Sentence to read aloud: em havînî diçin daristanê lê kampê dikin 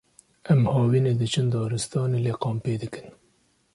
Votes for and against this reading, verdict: 1, 2, rejected